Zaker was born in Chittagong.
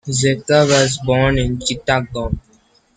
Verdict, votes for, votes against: rejected, 1, 2